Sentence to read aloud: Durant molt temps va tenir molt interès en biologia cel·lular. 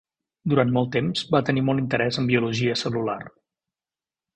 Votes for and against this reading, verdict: 3, 0, accepted